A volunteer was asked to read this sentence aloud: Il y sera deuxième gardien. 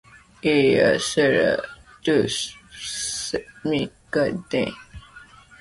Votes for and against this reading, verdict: 0, 2, rejected